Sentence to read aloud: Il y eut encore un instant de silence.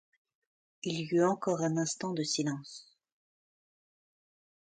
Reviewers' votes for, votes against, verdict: 2, 0, accepted